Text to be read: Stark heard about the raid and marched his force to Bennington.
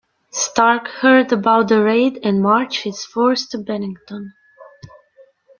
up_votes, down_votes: 1, 2